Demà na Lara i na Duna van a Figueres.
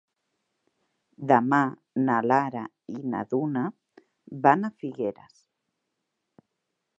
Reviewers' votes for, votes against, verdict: 5, 0, accepted